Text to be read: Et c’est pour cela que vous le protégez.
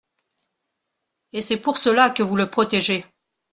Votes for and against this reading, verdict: 2, 0, accepted